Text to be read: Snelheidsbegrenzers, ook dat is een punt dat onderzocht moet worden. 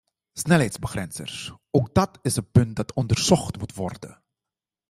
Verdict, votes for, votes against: accepted, 2, 0